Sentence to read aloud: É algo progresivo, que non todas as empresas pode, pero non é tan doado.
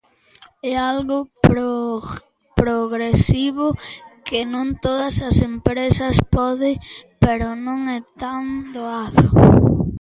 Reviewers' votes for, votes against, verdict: 0, 2, rejected